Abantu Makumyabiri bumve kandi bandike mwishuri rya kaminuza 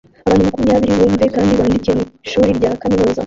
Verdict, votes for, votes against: rejected, 0, 2